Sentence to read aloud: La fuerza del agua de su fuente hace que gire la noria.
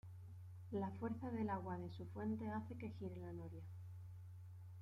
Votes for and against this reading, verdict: 2, 0, accepted